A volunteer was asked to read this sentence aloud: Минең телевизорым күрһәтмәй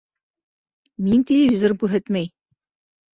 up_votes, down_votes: 0, 4